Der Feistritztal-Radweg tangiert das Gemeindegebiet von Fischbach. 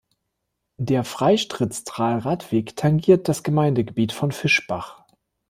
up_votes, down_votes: 1, 2